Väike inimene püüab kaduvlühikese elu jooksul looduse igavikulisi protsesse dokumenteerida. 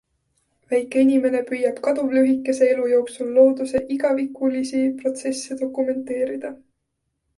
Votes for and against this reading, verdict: 3, 0, accepted